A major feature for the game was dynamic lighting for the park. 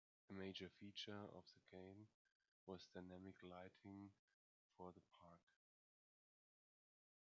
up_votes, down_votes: 2, 0